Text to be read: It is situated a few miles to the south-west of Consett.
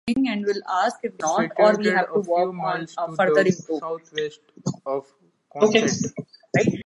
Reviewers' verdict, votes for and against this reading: rejected, 1, 2